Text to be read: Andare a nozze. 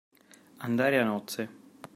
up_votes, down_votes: 2, 0